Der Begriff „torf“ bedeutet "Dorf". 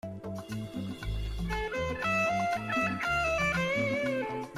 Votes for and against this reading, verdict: 0, 2, rejected